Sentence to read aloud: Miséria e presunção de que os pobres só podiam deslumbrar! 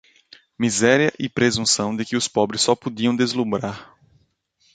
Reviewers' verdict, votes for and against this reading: accepted, 2, 0